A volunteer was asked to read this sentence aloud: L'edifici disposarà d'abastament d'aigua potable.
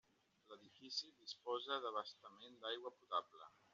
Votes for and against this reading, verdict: 1, 3, rejected